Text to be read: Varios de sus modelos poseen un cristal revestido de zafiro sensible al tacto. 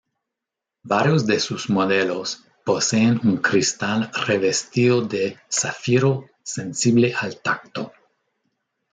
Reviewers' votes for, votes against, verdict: 2, 0, accepted